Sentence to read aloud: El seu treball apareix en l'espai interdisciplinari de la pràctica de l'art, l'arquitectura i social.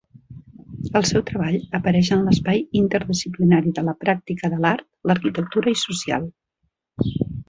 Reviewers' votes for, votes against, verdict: 0, 2, rejected